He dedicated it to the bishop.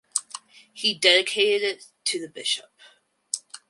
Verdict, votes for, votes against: rejected, 2, 2